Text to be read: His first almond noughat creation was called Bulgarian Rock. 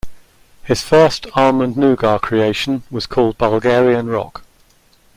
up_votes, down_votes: 2, 0